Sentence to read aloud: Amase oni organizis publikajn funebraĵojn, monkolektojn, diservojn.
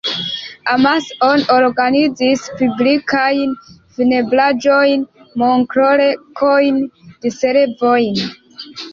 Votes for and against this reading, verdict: 1, 2, rejected